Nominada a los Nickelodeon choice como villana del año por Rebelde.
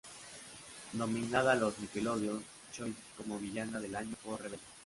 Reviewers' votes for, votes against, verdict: 0, 2, rejected